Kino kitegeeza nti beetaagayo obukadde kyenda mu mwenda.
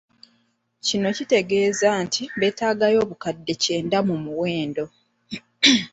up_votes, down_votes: 2, 0